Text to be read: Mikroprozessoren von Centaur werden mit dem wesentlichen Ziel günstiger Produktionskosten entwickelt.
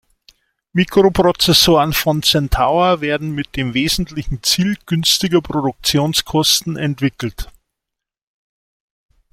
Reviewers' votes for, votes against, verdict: 2, 1, accepted